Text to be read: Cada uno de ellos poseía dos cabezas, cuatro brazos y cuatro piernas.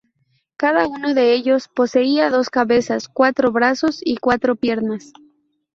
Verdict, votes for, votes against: rejected, 0, 2